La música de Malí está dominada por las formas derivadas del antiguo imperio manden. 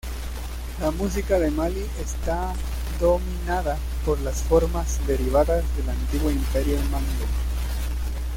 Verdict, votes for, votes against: rejected, 1, 2